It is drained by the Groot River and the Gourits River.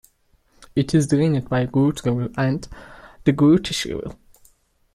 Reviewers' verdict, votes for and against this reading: rejected, 0, 2